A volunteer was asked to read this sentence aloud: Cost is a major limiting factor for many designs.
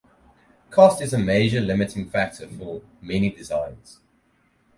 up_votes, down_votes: 4, 0